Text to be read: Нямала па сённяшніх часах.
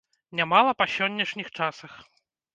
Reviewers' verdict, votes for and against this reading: rejected, 2, 3